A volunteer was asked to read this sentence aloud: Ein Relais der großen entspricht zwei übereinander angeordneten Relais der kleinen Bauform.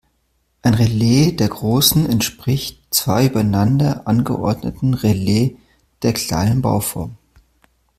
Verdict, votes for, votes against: rejected, 1, 2